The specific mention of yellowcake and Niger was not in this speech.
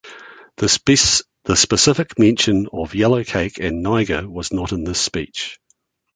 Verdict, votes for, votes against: accepted, 2, 1